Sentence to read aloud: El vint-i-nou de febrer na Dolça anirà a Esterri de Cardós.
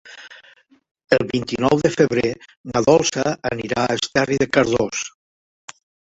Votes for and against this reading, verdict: 2, 3, rejected